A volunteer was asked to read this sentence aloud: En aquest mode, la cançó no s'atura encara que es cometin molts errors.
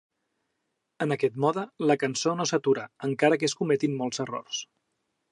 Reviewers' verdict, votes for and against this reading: accepted, 3, 0